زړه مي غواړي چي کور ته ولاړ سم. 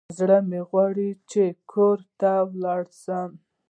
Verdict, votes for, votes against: accepted, 2, 1